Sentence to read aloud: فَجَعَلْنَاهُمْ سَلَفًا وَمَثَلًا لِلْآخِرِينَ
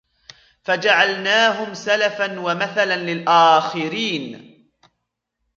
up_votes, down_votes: 2, 0